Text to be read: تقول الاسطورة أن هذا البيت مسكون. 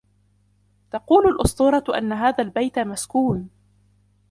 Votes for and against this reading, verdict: 2, 1, accepted